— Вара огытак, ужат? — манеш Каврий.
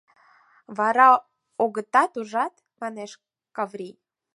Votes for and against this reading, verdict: 0, 4, rejected